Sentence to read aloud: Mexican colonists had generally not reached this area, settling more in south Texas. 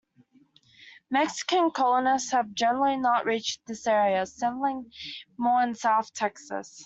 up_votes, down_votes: 2, 1